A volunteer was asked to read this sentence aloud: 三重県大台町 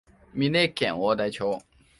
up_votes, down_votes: 0, 2